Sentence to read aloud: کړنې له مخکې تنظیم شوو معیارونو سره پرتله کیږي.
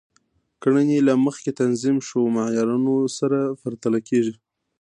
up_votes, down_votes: 2, 0